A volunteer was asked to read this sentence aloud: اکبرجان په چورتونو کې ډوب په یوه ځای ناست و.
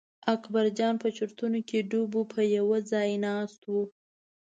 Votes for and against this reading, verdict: 2, 0, accepted